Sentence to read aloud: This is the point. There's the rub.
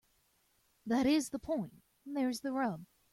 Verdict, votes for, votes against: rejected, 1, 2